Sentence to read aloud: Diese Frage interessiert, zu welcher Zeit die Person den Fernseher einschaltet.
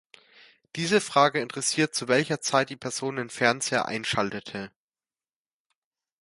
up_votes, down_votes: 0, 2